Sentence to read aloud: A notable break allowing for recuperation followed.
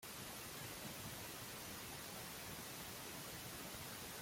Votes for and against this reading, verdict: 0, 2, rejected